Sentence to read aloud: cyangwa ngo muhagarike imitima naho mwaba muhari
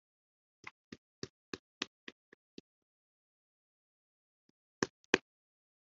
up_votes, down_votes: 0, 2